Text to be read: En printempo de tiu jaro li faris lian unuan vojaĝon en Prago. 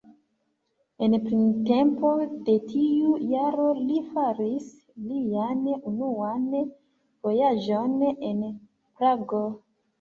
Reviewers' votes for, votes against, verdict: 2, 1, accepted